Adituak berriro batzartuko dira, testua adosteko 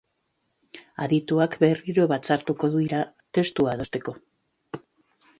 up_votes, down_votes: 1, 2